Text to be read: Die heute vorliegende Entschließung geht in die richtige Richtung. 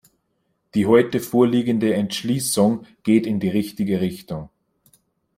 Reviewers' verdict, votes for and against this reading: accepted, 2, 0